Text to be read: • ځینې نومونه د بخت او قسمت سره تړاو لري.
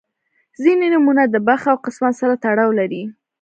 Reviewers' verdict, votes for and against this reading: rejected, 1, 2